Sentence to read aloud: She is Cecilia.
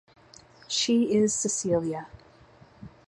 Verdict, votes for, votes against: accepted, 2, 0